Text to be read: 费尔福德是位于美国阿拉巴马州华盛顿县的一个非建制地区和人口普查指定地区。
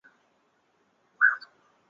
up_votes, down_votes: 0, 2